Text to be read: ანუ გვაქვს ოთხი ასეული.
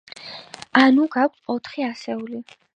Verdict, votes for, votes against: accepted, 2, 1